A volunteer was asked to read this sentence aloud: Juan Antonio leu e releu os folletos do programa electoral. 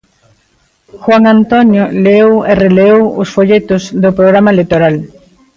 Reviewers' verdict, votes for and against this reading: rejected, 1, 2